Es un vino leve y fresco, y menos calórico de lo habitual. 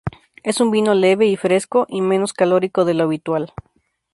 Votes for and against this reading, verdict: 2, 0, accepted